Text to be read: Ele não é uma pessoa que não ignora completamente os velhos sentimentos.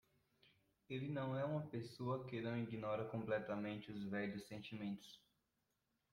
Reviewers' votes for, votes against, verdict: 2, 0, accepted